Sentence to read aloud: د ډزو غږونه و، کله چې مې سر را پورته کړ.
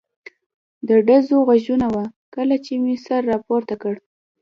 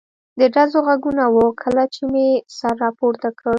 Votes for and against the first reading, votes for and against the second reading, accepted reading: 1, 2, 2, 0, second